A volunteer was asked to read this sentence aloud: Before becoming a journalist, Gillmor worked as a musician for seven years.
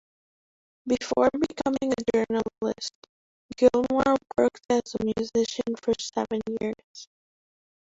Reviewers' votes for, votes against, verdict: 1, 2, rejected